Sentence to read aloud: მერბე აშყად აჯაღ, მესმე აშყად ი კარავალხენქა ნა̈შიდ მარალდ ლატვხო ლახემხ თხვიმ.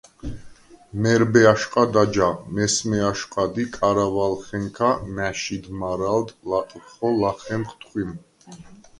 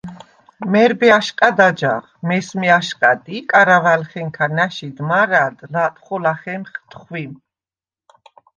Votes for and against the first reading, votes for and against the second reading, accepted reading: 2, 0, 1, 2, first